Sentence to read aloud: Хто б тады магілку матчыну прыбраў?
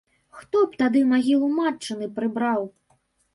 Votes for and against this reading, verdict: 1, 2, rejected